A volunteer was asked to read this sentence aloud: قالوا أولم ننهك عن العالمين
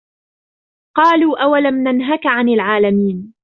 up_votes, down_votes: 2, 1